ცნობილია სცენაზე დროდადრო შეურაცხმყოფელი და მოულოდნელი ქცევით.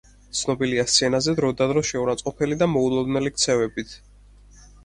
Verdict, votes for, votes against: rejected, 2, 4